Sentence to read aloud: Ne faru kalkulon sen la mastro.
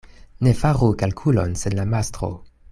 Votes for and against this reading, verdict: 2, 0, accepted